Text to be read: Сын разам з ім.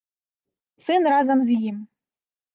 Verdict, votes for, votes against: accepted, 2, 0